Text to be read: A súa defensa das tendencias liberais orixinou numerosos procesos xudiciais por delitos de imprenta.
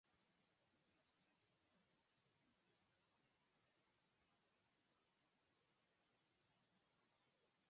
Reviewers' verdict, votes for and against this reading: rejected, 0, 4